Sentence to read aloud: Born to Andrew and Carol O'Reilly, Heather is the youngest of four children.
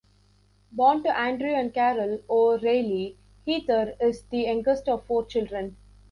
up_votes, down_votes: 0, 2